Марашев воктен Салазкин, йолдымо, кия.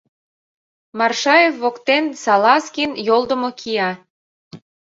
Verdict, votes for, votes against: rejected, 0, 2